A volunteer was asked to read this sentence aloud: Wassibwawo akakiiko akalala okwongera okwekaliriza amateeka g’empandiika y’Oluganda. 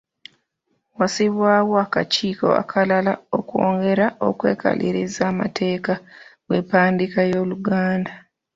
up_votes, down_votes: 0, 2